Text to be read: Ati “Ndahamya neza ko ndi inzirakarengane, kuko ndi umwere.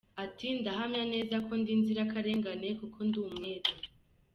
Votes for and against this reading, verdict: 2, 1, accepted